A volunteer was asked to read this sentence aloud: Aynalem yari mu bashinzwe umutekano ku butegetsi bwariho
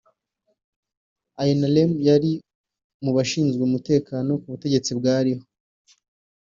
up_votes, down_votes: 1, 2